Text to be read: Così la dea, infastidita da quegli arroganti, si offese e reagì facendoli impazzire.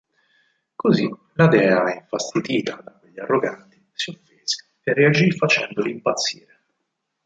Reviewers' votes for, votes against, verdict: 0, 4, rejected